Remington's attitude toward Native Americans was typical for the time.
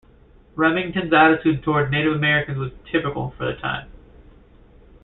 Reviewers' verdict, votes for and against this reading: accepted, 2, 0